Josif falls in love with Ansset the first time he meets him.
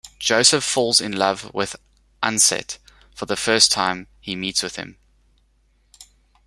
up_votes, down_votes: 0, 2